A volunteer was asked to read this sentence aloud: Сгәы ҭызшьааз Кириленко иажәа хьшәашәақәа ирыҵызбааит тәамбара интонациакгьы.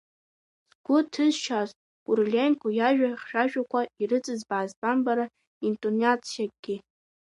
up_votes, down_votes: 3, 2